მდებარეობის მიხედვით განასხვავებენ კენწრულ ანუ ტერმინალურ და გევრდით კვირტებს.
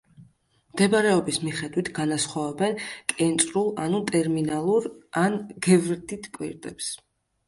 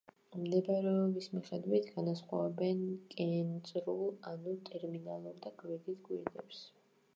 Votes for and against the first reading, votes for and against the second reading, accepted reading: 1, 2, 2, 0, second